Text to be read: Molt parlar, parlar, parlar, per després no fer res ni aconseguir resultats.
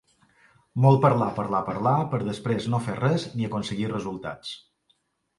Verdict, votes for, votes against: accepted, 2, 0